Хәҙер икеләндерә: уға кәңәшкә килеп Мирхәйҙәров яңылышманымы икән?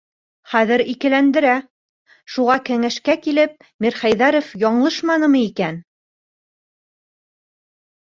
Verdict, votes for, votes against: rejected, 0, 2